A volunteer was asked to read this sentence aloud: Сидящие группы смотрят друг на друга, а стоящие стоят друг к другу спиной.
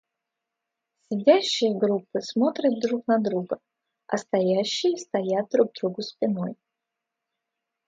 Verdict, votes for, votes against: accepted, 2, 0